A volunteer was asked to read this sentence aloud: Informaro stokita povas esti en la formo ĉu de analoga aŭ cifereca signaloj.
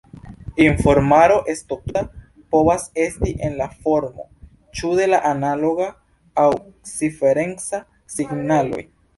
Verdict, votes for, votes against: rejected, 1, 2